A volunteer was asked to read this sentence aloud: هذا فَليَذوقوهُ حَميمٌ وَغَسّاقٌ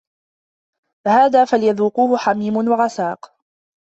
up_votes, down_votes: 0, 2